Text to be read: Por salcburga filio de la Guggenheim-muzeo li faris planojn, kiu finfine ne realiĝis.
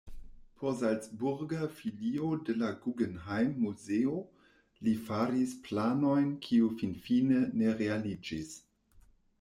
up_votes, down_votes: 1, 2